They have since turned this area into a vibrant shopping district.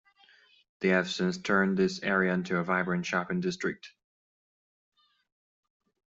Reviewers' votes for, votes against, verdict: 2, 1, accepted